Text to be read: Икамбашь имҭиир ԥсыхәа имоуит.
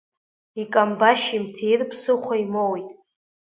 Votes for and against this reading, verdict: 2, 0, accepted